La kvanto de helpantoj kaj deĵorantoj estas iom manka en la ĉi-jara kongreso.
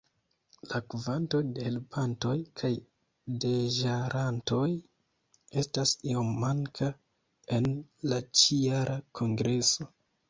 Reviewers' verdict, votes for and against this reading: rejected, 1, 2